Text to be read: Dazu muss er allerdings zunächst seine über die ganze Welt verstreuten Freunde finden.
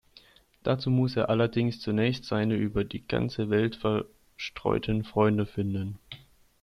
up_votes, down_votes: 1, 2